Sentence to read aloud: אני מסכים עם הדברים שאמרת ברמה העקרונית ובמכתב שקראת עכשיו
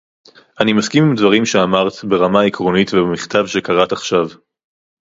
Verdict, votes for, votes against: rejected, 0, 2